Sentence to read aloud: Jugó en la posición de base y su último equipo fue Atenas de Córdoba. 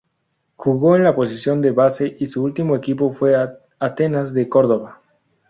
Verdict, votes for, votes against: rejected, 0, 2